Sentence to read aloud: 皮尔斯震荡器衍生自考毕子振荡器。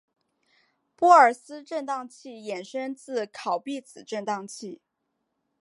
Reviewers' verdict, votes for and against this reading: rejected, 1, 2